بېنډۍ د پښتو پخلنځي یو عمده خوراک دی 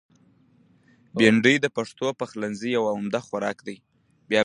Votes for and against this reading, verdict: 2, 0, accepted